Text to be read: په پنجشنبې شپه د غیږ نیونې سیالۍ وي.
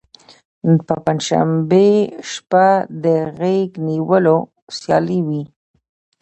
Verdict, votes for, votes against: rejected, 0, 2